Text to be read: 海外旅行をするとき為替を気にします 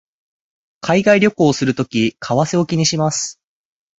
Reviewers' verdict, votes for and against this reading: accepted, 4, 0